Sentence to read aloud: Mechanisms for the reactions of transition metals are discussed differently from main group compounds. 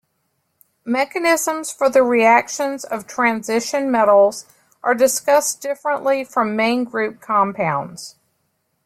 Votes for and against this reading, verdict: 2, 0, accepted